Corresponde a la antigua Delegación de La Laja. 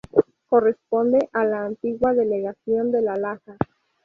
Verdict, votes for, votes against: rejected, 0, 2